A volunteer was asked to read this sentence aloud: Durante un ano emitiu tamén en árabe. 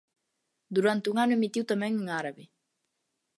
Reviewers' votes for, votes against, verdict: 2, 0, accepted